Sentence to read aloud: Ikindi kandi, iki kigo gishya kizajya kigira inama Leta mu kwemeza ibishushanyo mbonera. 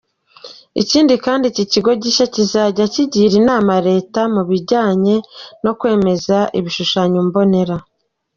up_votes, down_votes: 1, 2